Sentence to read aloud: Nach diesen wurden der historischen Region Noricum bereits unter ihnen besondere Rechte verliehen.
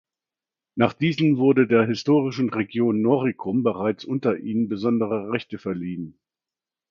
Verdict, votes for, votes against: accepted, 2, 0